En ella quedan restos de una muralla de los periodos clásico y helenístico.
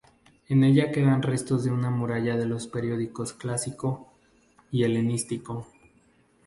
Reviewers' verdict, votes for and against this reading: rejected, 2, 2